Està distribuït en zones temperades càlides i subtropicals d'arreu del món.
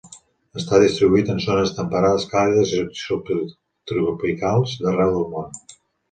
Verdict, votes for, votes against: rejected, 1, 2